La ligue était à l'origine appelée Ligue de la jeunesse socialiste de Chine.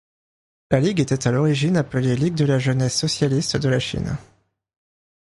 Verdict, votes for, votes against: rejected, 0, 2